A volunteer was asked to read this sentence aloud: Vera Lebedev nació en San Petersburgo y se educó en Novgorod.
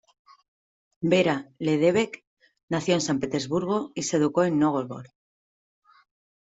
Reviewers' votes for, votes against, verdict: 1, 2, rejected